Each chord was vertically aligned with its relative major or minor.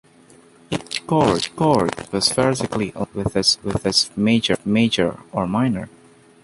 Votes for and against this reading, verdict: 0, 2, rejected